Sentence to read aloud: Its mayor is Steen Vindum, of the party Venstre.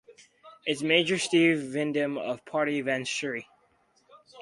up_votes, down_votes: 0, 4